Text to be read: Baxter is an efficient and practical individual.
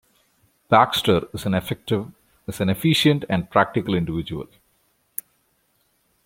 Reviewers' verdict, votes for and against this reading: rejected, 1, 2